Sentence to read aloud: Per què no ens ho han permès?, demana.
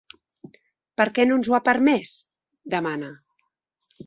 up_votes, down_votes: 1, 3